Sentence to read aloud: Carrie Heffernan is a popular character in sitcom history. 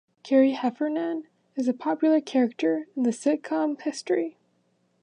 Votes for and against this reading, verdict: 1, 2, rejected